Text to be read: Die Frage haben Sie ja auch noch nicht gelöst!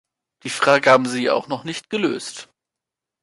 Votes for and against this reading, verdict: 2, 0, accepted